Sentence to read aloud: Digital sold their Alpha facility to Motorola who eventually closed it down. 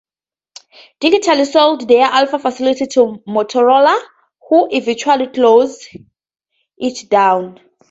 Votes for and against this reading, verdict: 0, 2, rejected